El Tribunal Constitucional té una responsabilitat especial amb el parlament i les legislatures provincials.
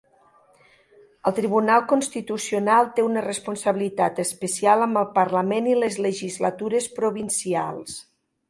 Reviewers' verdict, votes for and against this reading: accepted, 3, 0